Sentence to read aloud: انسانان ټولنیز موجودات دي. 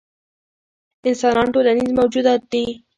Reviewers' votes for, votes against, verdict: 2, 0, accepted